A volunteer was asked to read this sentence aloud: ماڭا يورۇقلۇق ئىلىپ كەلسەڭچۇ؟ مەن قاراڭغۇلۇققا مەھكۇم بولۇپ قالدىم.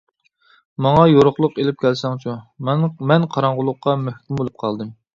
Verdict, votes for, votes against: rejected, 0, 2